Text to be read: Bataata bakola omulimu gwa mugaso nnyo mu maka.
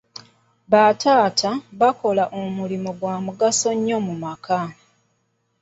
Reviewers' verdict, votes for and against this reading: accepted, 2, 0